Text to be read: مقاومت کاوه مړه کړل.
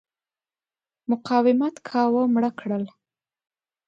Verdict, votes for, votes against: accepted, 2, 0